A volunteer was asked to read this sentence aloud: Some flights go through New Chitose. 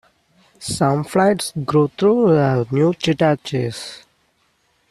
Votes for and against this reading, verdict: 0, 2, rejected